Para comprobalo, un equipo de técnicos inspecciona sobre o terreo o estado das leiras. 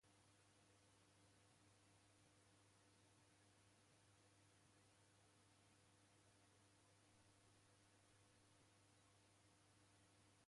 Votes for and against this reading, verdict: 0, 2, rejected